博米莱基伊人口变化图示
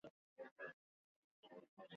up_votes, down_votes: 0, 2